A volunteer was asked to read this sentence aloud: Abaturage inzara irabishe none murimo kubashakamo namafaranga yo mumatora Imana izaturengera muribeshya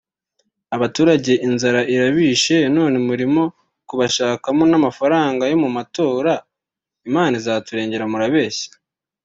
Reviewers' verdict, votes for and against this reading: rejected, 0, 2